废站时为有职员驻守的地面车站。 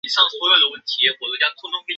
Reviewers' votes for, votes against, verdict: 0, 2, rejected